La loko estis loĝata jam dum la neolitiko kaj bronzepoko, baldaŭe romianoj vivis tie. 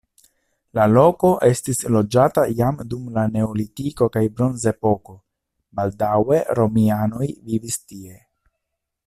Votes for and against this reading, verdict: 2, 0, accepted